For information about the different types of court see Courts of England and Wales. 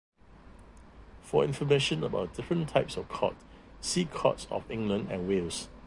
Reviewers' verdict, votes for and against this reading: rejected, 1, 2